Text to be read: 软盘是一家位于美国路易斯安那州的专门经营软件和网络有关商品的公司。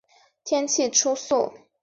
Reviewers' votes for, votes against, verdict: 0, 5, rejected